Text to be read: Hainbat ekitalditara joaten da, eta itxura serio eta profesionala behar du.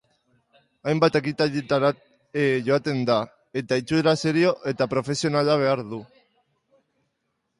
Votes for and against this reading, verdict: 1, 2, rejected